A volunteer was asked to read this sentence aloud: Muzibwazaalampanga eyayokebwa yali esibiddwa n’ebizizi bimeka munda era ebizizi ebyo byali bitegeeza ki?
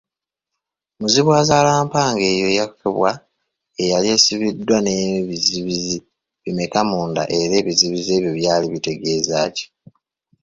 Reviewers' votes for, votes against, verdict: 1, 2, rejected